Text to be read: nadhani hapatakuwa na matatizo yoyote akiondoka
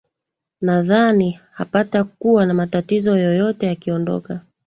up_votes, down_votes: 3, 0